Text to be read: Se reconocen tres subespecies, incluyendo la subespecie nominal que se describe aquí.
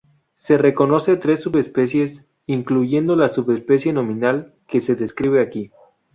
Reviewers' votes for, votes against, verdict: 2, 2, rejected